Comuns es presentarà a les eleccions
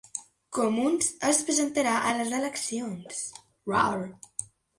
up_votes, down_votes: 0, 2